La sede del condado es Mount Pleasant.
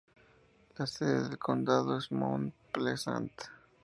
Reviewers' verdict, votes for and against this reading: accepted, 2, 0